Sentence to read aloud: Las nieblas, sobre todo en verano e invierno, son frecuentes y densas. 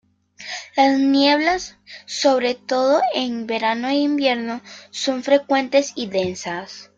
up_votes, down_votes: 2, 0